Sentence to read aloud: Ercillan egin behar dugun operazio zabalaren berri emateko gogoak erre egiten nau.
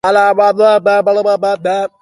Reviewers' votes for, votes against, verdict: 0, 4, rejected